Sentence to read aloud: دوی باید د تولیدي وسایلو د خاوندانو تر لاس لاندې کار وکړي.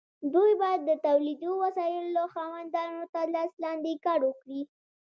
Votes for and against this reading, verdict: 2, 0, accepted